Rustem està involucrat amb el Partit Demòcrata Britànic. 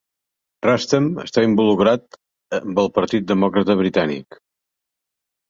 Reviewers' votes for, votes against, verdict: 2, 0, accepted